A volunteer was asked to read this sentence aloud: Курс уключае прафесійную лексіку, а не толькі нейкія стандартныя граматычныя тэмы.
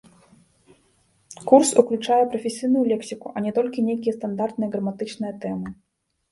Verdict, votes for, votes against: rejected, 1, 3